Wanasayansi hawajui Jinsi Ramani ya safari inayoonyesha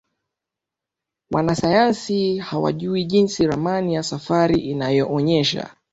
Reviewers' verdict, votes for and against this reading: accepted, 2, 0